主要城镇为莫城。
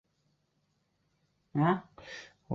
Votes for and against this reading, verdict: 0, 5, rejected